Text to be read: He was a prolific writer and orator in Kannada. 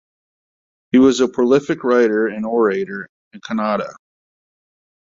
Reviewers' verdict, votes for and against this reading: accepted, 2, 0